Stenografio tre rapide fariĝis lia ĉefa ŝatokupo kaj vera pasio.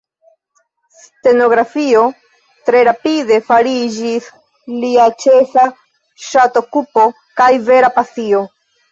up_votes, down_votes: 1, 2